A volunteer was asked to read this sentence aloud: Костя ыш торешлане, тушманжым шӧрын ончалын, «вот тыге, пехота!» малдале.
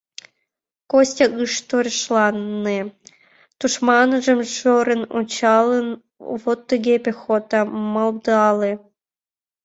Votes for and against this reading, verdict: 0, 2, rejected